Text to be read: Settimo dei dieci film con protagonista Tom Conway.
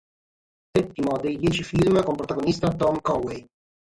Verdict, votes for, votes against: rejected, 3, 3